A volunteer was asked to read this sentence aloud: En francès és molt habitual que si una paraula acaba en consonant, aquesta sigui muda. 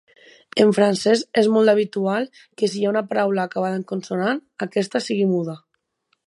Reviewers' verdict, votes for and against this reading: rejected, 2, 4